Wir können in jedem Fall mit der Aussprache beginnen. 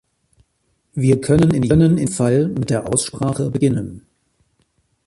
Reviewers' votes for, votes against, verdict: 1, 2, rejected